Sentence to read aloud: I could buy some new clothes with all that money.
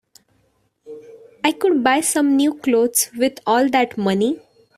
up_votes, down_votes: 2, 0